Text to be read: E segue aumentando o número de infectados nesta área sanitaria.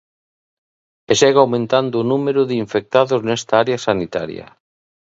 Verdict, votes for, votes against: accepted, 2, 0